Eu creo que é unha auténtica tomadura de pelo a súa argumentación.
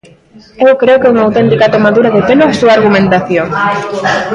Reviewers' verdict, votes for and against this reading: rejected, 0, 2